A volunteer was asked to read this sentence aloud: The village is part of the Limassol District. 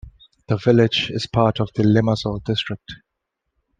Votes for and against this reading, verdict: 2, 0, accepted